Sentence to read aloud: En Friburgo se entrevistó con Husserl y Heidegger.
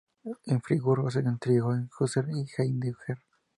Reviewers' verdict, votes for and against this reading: rejected, 0, 2